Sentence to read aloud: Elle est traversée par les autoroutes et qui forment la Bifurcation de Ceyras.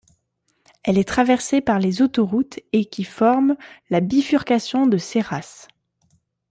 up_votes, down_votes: 3, 1